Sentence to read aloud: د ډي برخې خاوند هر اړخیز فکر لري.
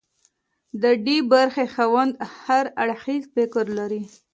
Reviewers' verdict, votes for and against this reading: accepted, 2, 0